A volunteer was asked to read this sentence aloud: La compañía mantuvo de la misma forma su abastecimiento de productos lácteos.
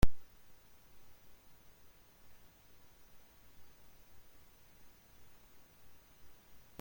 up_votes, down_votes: 0, 2